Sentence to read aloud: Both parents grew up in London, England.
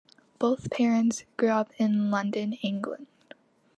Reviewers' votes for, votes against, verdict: 2, 0, accepted